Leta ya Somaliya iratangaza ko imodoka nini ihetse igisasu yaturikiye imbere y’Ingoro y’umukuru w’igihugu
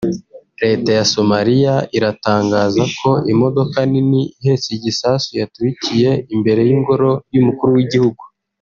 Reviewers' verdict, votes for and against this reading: accepted, 3, 0